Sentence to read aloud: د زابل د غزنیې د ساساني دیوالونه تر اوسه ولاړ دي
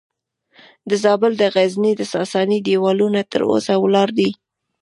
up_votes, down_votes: 2, 0